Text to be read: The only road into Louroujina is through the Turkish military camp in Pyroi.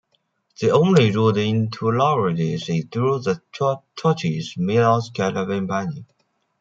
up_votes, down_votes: 0, 2